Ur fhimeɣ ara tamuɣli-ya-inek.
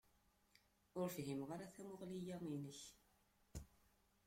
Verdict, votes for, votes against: rejected, 0, 2